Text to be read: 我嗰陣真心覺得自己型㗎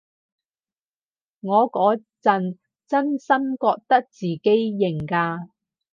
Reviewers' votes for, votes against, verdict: 4, 0, accepted